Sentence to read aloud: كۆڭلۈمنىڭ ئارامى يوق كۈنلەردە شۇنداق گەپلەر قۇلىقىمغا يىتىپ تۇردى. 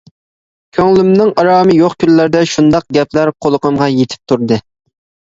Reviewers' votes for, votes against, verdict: 2, 0, accepted